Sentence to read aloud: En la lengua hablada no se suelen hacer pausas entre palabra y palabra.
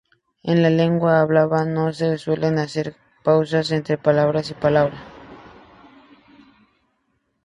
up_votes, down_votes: 2, 2